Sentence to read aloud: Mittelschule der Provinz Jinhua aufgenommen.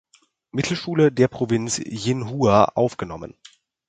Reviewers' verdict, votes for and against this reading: accepted, 4, 0